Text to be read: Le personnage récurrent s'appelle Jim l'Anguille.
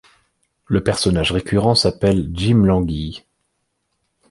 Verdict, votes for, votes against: accepted, 2, 0